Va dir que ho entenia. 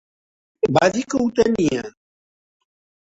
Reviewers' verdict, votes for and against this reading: rejected, 1, 2